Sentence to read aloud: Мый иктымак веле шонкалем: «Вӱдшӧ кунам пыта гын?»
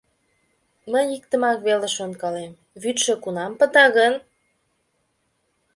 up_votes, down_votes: 2, 0